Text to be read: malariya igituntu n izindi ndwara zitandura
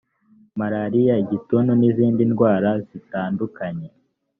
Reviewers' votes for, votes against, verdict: 1, 2, rejected